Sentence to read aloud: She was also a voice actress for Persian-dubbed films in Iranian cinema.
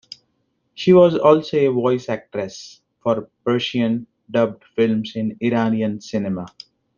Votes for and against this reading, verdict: 2, 0, accepted